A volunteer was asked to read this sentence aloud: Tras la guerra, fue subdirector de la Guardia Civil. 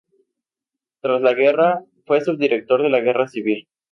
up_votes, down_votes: 0, 2